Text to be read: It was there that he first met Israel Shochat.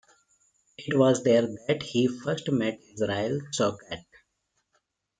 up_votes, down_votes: 1, 2